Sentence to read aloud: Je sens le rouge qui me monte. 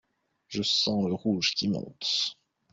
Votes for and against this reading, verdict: 0, 2, rejected